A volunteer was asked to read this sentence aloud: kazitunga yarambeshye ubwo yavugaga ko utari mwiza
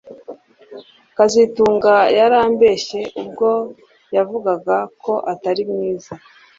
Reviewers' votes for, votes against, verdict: 1, 2, rejected